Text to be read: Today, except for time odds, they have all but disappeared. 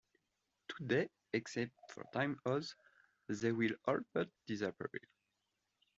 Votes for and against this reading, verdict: 1, 2, rejected